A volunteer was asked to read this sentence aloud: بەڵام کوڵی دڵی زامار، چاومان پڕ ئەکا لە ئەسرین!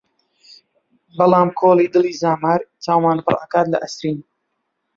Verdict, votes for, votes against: rejected, 0, 2